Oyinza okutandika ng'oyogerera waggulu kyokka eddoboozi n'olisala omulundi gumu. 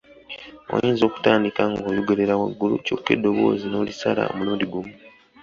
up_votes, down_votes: 2, 0